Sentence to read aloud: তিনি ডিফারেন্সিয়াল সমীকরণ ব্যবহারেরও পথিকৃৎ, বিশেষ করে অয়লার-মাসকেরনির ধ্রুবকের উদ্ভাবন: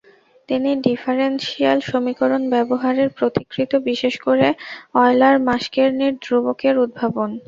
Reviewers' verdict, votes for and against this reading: rejected, 0, 2